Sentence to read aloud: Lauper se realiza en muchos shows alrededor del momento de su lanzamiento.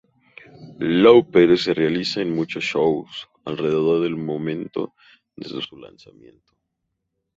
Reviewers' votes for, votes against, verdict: 0, 2, rejected